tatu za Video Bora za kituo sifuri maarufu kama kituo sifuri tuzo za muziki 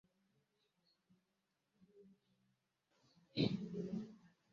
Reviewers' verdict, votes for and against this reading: rejected, 0, 2